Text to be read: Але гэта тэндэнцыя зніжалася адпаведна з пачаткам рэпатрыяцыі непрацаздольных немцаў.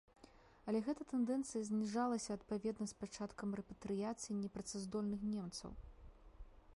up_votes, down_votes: 1, 2